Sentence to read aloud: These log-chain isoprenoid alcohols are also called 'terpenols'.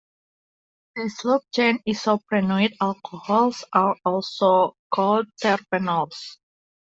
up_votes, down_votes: 2, 0